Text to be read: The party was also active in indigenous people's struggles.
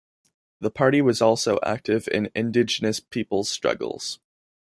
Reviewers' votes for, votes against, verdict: 2, 0, accepted